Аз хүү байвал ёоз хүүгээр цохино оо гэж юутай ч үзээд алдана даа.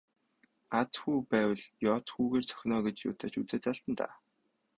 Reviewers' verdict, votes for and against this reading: rejected, 0, 2